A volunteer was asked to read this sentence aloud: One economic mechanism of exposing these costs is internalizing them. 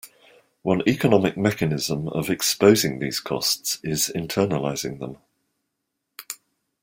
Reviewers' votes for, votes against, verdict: 2, 0, accepted